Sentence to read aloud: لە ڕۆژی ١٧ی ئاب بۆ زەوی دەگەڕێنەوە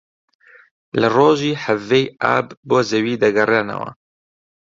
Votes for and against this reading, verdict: 0, 2, rejected